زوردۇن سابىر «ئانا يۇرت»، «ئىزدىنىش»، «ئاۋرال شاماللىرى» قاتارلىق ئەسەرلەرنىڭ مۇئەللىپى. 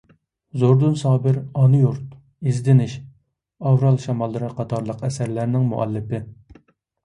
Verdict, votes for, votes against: accepted, 2, 0